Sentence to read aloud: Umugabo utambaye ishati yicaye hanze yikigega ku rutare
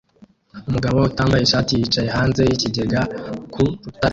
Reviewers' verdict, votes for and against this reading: rejected, 0, 2